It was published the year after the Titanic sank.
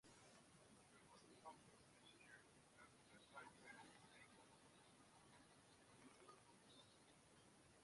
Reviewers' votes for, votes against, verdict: 0, 2, rejected